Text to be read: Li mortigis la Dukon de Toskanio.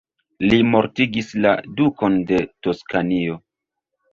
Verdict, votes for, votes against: rejected, 1, 2